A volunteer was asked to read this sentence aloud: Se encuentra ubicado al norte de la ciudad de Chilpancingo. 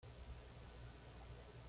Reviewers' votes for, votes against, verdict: 1, 2, rejected